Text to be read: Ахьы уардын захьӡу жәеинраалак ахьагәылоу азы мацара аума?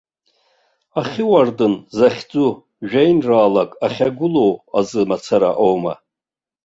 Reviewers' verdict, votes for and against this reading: accepted, 2, 0